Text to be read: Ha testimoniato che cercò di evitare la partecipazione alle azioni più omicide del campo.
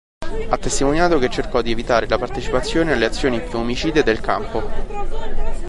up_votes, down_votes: 1, 3